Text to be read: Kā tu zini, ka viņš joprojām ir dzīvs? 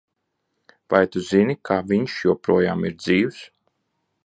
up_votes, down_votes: 0, 2